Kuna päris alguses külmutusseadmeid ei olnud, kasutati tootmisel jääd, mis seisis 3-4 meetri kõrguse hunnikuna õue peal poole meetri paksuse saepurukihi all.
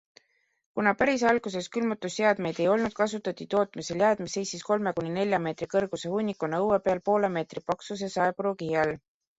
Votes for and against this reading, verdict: 0, 2, rejected